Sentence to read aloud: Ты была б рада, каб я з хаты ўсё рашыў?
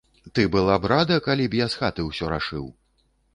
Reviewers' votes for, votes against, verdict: 1, 2, rejected